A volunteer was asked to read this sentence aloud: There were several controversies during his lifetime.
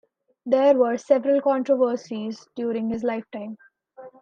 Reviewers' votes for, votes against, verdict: 2, 0, accepted